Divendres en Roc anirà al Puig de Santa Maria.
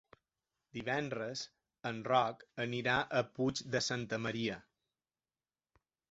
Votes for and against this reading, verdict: 0, 2, rejected